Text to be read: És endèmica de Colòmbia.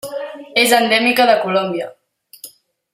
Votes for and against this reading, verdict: 3, 0, accepted